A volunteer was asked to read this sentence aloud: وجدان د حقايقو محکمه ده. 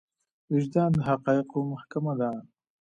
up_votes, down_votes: 2, 0